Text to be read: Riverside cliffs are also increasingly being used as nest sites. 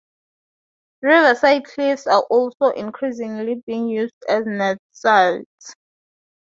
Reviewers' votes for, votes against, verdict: 4, 0, accepted